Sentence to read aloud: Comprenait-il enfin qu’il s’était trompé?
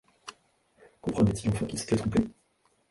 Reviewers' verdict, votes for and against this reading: rejected, 0, 2